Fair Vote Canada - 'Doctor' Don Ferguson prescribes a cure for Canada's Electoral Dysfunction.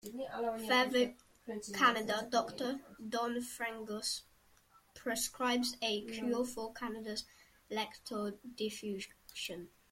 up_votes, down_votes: 1, 2